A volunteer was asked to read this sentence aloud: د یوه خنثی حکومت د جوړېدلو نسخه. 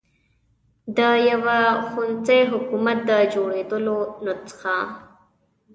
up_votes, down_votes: 0, 2